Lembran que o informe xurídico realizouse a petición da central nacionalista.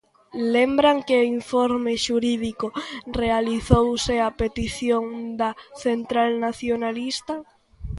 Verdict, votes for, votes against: accepted, 2, 1